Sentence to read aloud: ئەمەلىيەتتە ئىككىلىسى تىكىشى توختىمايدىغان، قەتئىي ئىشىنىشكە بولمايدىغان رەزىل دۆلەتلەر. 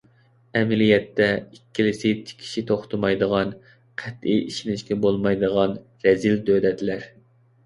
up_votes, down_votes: 2, 0